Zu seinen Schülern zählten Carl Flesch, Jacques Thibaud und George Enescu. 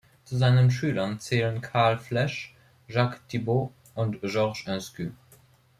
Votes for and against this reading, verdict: 0, 2, rejected